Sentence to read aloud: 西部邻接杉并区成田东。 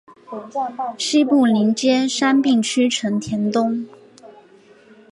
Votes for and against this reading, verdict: 2, 0, accepted